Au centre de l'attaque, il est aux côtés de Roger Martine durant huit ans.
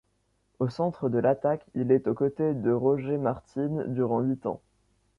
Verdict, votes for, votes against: accepted, 2, 0